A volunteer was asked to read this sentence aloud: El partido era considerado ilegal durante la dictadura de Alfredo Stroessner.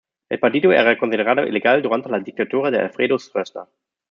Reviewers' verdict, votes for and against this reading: rejected, 0, 2